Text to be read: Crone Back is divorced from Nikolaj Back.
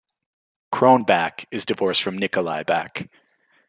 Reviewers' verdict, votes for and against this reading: rejected, 1, 2